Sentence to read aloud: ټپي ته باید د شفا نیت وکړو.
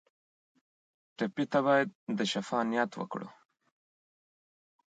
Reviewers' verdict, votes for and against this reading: accepted, 2, 0